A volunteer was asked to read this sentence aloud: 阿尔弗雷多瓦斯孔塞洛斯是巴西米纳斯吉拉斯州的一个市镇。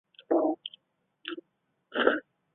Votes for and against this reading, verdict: 0, 2, rejected